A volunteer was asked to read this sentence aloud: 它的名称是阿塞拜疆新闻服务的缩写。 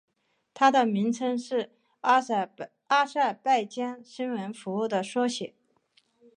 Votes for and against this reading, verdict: 2, 1, accepted